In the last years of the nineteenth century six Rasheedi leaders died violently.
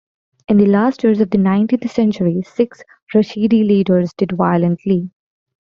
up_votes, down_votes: 0, 2